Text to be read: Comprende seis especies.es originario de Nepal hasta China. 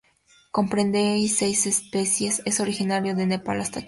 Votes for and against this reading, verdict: 0, 2, rejected